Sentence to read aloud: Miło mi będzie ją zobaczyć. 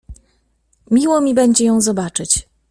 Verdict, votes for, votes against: accepted, 2, 0